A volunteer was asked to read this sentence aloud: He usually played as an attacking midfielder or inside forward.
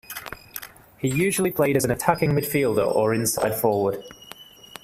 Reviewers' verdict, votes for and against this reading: accepted, 2, 1